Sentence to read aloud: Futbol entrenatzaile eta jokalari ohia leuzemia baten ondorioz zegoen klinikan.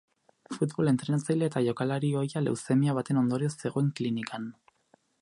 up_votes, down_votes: 0, 2